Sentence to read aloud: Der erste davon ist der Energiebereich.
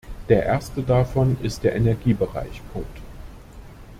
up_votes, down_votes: 0, 2